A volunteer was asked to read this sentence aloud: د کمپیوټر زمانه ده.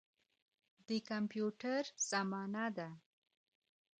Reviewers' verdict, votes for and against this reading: rejected, 1, 2